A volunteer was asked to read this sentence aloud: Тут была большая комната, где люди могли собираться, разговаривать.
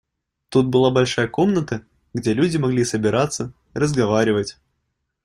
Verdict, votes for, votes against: accepted, 2, 0